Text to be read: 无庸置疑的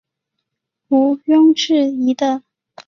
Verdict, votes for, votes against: accepted, 3, 2